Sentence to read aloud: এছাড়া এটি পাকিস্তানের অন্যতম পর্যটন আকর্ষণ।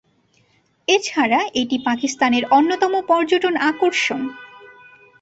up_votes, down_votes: 2, 1